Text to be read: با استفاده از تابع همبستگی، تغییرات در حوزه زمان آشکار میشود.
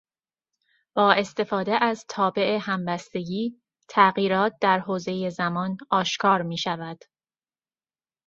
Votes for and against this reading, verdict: 2, 0, accepted